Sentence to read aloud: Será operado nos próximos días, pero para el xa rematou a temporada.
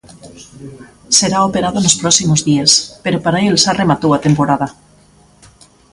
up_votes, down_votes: 0, 2